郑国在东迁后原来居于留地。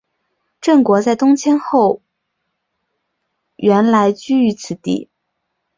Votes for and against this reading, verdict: 1, 2, rejected